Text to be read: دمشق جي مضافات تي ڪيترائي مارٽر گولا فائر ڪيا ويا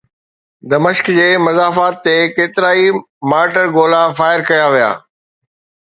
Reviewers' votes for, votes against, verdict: 2, 0, accepted